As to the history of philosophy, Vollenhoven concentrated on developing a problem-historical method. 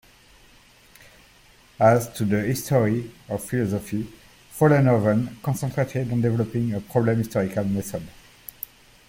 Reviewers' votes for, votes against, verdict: 1, 2, rejected